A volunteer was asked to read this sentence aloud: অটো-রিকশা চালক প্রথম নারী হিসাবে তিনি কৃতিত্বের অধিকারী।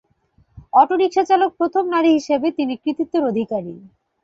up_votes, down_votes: 2, 1